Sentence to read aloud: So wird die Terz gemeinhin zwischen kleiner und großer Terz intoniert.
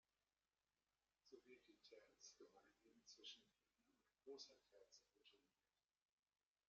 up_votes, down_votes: 0, 2